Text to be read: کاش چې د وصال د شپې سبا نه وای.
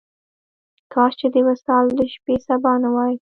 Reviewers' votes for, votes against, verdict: 1, 2, rejected